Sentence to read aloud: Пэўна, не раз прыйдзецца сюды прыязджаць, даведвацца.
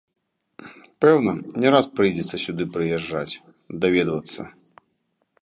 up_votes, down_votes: 2, 0